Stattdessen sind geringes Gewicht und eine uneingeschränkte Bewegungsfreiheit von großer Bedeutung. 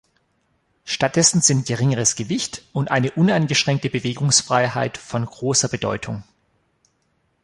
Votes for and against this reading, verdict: 1, 2, rejected